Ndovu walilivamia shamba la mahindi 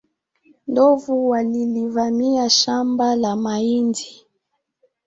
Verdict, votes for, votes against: accepted, 4, 1